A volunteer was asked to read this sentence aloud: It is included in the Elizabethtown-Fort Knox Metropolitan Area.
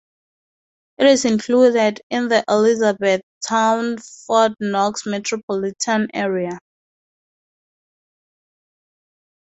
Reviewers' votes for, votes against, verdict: 2, 0, accepted